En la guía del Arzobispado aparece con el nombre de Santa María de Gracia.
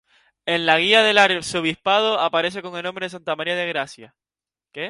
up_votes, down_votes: 0, 2